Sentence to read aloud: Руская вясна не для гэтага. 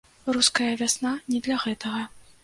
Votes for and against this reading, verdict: 2, 0, accepted